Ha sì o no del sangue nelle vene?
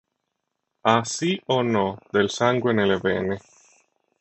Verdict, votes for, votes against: accepted, 3, 0